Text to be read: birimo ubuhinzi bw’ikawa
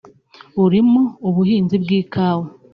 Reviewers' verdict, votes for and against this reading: rejected, 0, 2